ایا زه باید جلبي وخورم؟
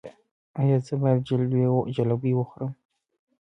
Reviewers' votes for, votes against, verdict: 1, 2, rejected